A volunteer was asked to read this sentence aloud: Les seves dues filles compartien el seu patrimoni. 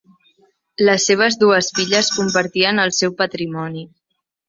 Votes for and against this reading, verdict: 2, 0, accepted